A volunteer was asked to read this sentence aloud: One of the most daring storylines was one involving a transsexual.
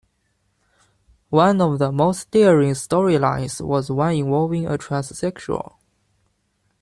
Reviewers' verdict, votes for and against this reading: accepted, 2, 1